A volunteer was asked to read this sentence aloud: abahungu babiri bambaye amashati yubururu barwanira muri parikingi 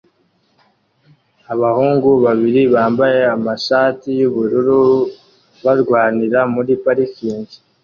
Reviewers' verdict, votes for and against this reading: accepted, 2, 0